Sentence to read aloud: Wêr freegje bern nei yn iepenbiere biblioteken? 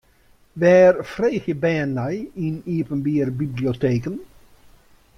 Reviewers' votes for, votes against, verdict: 1, 2, rejected